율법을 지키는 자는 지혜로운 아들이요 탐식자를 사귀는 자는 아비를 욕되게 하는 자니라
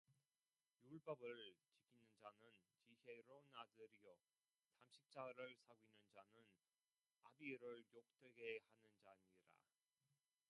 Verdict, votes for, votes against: rejected, 0, 2